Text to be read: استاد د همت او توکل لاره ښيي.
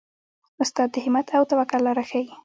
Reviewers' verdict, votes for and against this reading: accepted, 2, 0